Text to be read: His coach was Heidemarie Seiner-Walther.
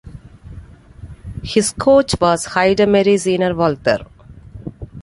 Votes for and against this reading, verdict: 2, 0, accepted